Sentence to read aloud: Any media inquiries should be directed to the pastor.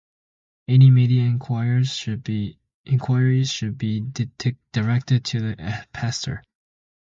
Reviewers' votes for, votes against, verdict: 0, 2, rejected